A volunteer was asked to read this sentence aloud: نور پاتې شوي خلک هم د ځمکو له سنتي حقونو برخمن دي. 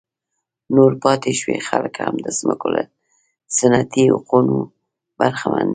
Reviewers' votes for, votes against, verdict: 2, 0, accepted